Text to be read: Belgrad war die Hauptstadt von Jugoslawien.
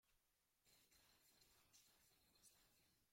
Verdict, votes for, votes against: rejected, 0, 2